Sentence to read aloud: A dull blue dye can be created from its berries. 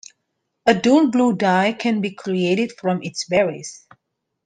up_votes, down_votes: 2, 1